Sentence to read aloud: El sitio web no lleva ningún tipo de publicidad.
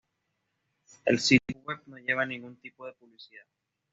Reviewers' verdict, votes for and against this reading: rejected, 1, 2